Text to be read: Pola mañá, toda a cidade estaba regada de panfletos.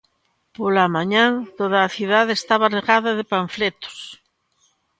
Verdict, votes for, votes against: accepted, 2, 1